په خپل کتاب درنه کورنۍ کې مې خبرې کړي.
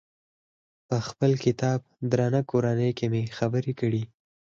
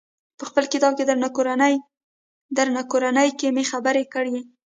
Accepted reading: first